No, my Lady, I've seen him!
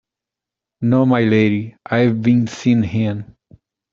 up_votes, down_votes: 0, 2